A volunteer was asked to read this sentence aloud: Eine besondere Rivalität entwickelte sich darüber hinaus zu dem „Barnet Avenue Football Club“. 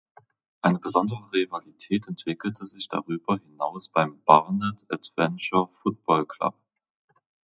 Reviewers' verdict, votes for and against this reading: rejected, 0, 2